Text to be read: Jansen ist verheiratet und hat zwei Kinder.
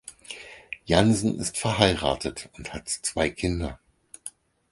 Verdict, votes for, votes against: accepted, 4, 0